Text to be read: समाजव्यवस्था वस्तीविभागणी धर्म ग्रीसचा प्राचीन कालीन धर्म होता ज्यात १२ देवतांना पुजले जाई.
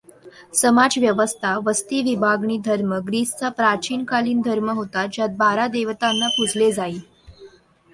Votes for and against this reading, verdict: 0, 2, rejected